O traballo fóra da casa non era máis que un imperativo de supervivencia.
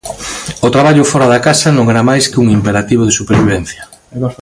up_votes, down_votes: 2, 1